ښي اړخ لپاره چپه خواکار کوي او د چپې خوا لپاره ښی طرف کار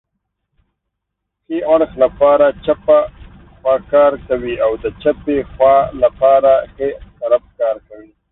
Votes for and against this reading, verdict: 0, 2, rejected